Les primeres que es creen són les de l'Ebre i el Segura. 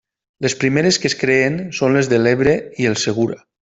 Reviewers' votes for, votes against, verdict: 2, 0, accepted